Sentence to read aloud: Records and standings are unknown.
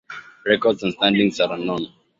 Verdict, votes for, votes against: accepted, 2, 0